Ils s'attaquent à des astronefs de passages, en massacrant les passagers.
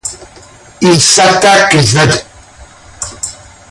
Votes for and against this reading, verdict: 0, 2, rejected